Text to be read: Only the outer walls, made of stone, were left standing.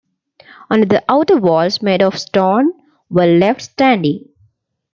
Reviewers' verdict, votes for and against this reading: accepted, 2, 1